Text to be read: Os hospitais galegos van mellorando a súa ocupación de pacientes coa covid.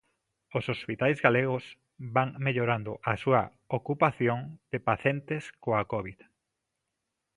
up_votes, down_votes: 0, 2